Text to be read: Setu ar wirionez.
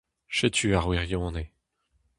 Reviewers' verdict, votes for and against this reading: rejected, 2, 2